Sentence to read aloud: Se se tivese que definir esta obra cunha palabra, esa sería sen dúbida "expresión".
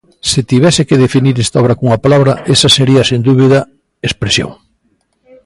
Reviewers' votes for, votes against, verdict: 0, 2, rejected